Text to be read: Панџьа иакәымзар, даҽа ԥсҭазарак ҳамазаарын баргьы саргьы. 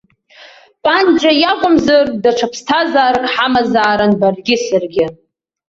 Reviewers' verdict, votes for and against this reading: accepted, 2, 0